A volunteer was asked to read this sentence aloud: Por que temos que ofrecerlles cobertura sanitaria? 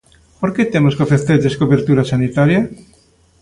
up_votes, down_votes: 2, 0